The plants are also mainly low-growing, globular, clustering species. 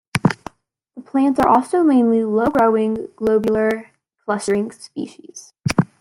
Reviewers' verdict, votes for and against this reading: rejected, 0, 2